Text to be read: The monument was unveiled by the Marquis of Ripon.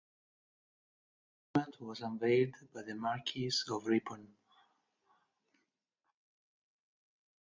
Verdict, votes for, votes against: rejected, 0, 2